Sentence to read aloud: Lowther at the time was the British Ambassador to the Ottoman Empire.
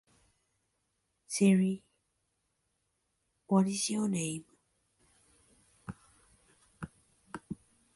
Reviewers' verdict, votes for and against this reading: rejected, 0, 2